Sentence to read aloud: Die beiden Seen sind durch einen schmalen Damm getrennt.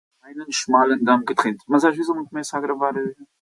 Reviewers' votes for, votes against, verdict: 0, 2, rejected